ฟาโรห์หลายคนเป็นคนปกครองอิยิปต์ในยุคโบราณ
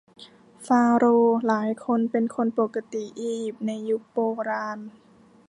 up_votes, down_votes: 1, 3